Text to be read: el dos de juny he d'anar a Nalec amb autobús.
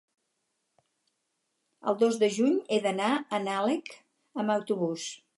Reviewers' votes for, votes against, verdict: 2, 2, rejected